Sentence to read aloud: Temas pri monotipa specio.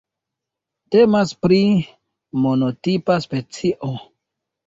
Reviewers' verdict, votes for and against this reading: rejected, 1, 2